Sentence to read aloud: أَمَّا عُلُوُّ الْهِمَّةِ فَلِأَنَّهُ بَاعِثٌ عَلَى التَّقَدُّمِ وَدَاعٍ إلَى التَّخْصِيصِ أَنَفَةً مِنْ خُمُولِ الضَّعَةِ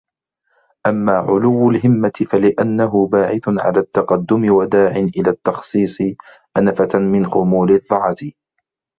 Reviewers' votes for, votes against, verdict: 2, 0, accepted